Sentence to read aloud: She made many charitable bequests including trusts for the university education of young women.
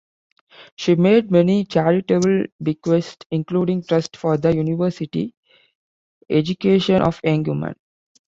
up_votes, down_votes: 0, 2